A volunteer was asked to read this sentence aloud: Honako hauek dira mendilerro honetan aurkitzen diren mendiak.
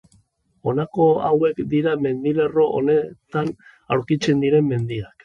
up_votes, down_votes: 2, 0